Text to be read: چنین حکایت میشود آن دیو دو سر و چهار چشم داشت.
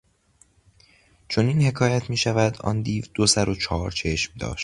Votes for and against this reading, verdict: 2, 0, accepted